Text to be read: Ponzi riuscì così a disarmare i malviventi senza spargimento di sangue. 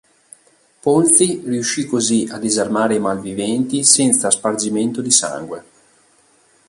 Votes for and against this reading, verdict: 2, 0, accepted